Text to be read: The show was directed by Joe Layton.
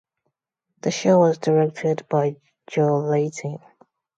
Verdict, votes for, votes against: accepted, 2, 0